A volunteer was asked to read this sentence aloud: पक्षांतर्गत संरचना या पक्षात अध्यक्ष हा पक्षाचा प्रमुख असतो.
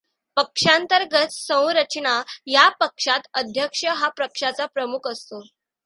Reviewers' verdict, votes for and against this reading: accepted, 2, 1